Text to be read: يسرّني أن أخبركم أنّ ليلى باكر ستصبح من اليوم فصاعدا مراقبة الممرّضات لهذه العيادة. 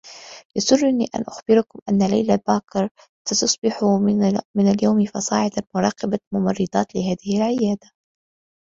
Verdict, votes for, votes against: accepted, 2, 0